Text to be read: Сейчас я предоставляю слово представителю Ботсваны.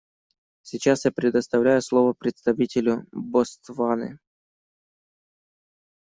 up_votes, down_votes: 1, 2